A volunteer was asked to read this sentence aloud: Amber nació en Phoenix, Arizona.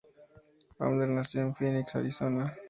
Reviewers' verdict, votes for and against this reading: rejected, 0, 2